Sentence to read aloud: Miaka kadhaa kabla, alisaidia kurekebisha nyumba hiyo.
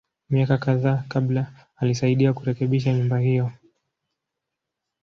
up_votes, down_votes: 2, 0